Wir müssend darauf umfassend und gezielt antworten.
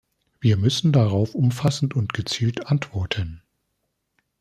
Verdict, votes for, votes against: accepted, 2, 0